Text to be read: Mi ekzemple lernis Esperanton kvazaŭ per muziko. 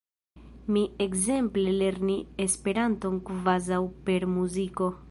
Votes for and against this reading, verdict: 0, 2, rejected